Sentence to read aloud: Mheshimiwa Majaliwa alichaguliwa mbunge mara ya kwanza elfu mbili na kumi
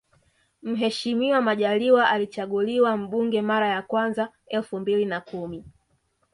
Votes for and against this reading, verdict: 2, 0, accepted